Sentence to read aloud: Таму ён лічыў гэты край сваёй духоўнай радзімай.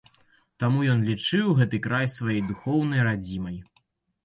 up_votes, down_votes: 1, 2